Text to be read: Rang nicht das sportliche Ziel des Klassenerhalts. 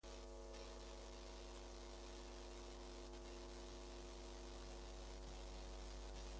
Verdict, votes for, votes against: rejected, 0, 2